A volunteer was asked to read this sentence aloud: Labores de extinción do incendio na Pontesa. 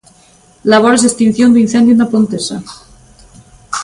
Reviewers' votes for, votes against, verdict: 2, 0, accepted